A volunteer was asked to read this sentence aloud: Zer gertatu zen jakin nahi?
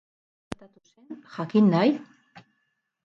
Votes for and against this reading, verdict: 0, 4, rejected